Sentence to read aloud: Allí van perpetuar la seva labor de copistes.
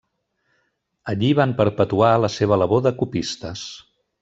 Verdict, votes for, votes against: rejected, 1, 2